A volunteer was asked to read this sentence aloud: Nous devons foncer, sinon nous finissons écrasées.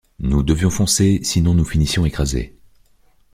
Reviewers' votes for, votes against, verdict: 0, 2, rejected